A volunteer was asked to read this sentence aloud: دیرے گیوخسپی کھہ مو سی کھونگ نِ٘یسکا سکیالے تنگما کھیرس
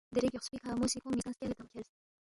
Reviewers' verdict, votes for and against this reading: rejected, 1, 2